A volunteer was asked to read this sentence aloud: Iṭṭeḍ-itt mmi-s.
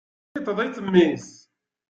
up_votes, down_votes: 1, 2